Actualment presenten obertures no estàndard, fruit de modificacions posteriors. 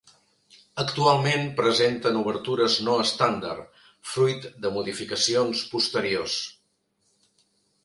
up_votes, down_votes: 2, 0